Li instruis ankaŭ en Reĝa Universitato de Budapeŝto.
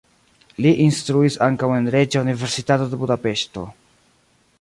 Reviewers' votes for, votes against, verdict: 0, 2, rejected